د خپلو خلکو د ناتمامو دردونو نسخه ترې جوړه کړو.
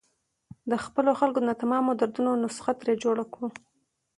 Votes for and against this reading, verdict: 2, 0, accepted